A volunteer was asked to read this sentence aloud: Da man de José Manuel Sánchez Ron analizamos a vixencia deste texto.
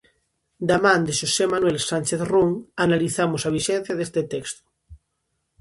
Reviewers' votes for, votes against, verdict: 0, 2, rejected